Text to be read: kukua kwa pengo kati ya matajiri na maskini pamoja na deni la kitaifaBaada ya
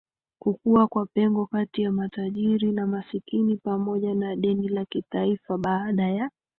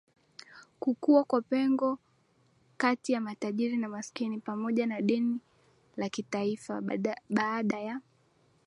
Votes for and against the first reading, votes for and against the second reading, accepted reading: 2, 3, 2, 1, second